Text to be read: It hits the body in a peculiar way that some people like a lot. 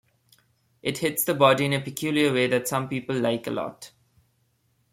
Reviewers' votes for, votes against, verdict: 2, 0, accepted